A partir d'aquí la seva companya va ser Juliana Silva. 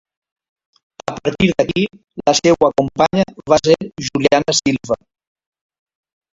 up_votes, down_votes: 1, 2